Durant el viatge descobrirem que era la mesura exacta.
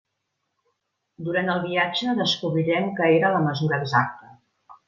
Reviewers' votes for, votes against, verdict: 2, 0, accepted